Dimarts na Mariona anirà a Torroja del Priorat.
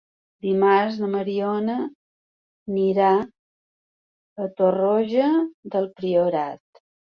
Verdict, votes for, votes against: accepted, 3, 0